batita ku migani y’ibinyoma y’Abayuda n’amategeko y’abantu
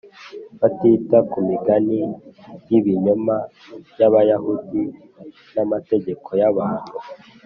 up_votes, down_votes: 1, 2